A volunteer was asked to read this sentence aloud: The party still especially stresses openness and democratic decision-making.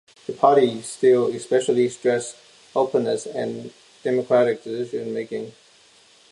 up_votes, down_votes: 0, 2